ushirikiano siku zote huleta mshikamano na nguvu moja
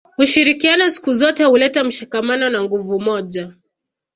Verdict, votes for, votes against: accepted, 2, 0